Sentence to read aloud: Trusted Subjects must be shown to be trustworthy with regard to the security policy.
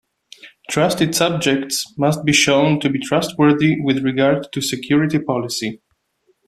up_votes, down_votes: 0, 2